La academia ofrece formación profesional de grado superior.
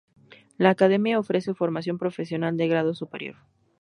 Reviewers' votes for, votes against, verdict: 2, 0, accepted